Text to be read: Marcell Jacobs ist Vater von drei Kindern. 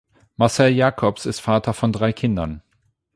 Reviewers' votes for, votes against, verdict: 8, 0, accepted